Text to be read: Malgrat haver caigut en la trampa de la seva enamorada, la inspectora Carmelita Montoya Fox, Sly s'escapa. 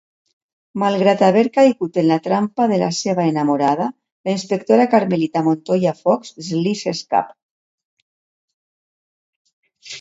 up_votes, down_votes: 1, 2